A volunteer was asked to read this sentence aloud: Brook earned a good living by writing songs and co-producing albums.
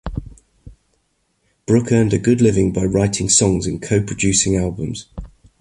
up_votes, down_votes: 2, 0